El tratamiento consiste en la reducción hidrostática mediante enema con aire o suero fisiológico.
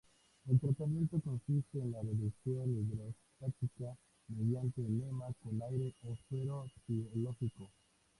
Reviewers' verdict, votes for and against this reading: rejected, 0, 2